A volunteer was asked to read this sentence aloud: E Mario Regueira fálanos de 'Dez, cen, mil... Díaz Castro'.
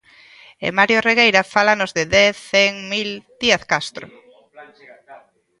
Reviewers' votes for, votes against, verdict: 0, 2, rejected